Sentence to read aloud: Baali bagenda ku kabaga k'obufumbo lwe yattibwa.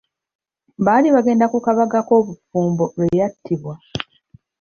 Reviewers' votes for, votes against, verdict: 1, 2, rejected